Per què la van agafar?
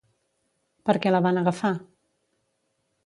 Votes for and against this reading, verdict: 2, 0, accepted